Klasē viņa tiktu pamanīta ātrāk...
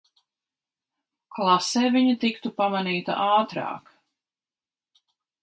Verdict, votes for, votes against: accepted, 2, 0